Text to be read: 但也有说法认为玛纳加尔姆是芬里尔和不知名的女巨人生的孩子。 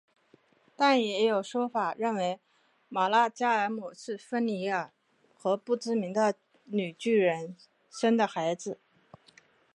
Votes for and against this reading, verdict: 3, 0, accepted